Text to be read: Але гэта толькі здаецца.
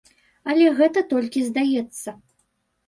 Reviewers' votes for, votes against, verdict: 2, 0, accepted